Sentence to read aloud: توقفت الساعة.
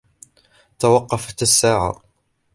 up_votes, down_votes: 2, 0